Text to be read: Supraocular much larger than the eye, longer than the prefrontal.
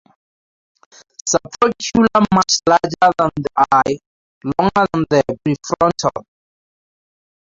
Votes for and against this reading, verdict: 2, 0, accepted